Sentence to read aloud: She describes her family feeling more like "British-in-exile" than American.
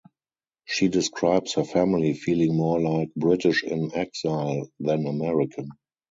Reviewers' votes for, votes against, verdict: 0, 2, rejected